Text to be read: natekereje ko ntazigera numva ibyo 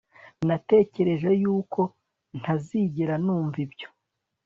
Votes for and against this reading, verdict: 1, 2, rejected